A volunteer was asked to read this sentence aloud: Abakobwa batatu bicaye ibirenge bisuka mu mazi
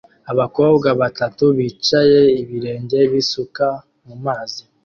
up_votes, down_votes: 1, 2